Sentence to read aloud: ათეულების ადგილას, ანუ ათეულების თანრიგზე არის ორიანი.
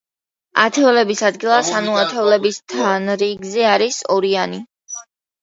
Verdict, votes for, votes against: accepted, 2, 0